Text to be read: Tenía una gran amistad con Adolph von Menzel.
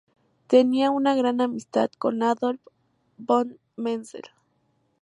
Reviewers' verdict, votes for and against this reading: rejected, 0, 2